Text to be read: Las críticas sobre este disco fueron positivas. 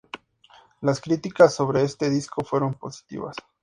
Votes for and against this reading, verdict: 4, 0, accepted